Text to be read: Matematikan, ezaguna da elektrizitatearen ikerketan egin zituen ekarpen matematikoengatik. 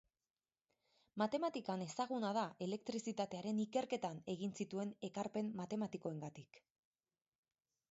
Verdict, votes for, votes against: accepted, 4, 0